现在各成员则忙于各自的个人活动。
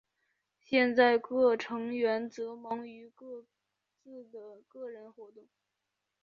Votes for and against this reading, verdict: 1, 2, rejected